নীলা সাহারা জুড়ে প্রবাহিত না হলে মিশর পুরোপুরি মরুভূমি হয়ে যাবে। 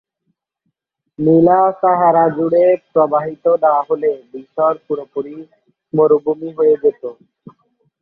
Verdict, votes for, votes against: accepted, 2, 0